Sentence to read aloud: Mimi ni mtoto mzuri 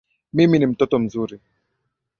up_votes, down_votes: 7, 1